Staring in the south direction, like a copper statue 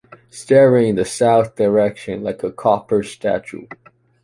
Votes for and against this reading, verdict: 2, 0, accepted